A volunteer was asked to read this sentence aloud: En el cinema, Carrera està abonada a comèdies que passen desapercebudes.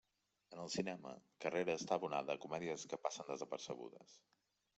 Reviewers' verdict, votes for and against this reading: accepted, 3, 1